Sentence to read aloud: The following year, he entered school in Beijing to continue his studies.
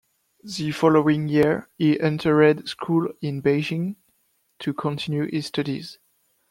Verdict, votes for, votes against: rejected, 0, 2